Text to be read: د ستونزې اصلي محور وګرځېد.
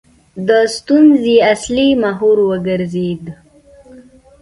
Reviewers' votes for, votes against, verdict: 1, 2, rejected